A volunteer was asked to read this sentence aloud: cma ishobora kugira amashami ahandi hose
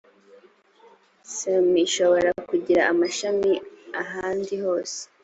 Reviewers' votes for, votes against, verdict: 2, 0, accepted